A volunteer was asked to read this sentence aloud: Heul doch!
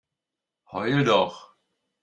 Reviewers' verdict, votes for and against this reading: accepted, 2, 0